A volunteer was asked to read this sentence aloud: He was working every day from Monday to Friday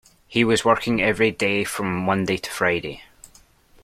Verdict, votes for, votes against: accepted, 2, 0